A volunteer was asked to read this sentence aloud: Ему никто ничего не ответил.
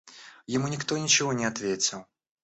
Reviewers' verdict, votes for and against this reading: accepted, 2, 0